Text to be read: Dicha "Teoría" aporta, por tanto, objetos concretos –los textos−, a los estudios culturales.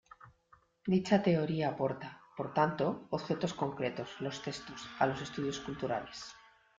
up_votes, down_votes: 2, 0